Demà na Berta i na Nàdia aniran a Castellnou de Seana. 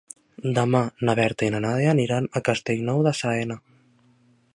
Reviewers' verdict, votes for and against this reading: rejected, 1, 2